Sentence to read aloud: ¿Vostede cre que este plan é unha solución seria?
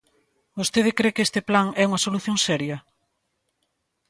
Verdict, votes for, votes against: accepted, 2, 0